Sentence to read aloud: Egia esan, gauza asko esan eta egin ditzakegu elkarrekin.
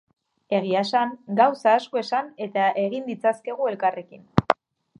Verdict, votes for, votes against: rejected, 0, 2